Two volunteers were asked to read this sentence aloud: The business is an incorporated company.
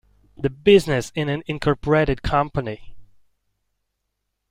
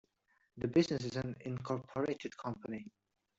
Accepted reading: second